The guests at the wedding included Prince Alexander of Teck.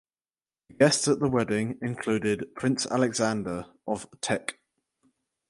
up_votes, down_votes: 2, 2